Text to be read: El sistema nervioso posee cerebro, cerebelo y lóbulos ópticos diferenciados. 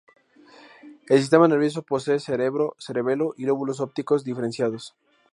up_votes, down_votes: 2, 0